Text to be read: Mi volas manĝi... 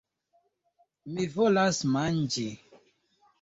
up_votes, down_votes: 2, 1